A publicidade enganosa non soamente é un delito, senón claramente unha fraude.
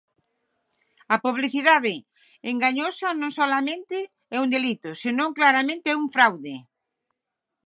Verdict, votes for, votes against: rejected, 0, 6